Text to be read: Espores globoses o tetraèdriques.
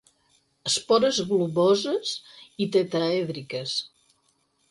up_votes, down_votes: 2, 4